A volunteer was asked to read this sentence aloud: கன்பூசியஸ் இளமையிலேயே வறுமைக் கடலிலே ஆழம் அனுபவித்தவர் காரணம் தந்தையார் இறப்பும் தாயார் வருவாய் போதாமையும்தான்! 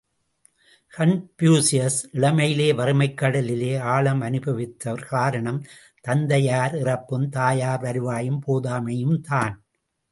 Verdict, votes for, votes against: rejected, 0, 2